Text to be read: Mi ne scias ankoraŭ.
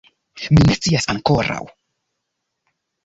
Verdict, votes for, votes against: accepted, 2, 1